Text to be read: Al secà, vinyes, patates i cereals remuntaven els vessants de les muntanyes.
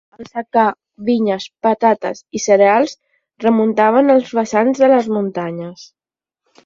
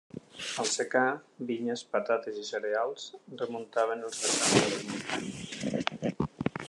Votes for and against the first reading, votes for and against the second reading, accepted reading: 10, 0, 1, 2, first